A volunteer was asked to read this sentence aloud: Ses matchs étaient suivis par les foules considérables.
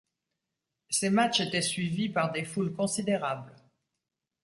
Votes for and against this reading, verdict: 0, 2, rejected